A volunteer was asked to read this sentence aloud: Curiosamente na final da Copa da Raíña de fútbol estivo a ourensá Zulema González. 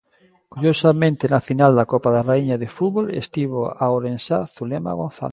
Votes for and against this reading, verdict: 1, 2, rejected